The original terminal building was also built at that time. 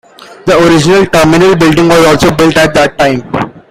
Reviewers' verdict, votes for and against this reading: accepted, 2, 1